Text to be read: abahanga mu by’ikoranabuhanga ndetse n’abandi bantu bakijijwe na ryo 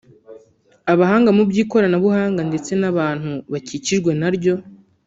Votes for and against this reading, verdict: 1, 2, rejected